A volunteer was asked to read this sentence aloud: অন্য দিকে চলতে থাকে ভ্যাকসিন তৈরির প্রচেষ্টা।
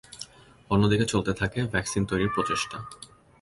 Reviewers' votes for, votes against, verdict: 2, 0, accepted